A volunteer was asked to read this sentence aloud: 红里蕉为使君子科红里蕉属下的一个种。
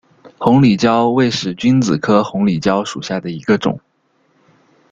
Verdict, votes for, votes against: accepted, 2, 0